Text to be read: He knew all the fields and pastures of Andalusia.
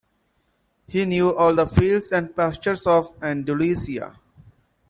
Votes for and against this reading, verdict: 7, 1, accepted